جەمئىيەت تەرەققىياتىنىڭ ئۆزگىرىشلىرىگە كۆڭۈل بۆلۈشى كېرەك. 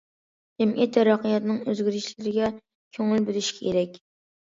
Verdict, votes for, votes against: accepted, 2, 1